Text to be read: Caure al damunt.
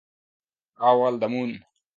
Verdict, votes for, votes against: rejected, 0, 2